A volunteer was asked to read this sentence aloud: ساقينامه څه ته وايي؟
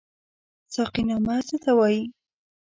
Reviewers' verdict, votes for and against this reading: rejected, 1, 2